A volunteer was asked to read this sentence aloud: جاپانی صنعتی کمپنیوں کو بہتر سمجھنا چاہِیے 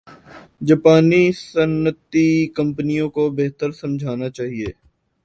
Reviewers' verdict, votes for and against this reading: rejected, 0, 2